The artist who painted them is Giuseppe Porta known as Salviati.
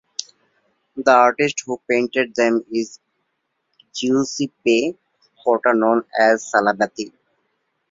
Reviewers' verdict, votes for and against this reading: rejected, 1, 2